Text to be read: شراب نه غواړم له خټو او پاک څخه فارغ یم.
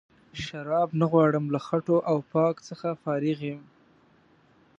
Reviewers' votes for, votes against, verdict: 2, 0, accepted